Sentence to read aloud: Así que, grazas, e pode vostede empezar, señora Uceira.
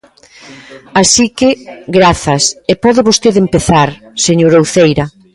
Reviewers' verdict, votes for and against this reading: accepted, 2, 0